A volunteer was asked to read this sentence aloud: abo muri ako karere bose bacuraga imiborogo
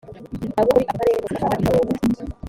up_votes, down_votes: 2, 4